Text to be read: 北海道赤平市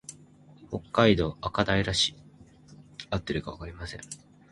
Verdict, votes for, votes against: rejected, 0, 2